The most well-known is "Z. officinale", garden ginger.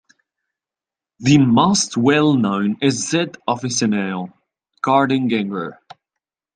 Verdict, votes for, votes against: rejected, 0, 2